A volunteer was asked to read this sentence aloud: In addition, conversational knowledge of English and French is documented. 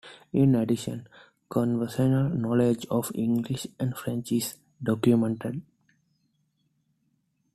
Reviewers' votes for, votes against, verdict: 2, 0, accepted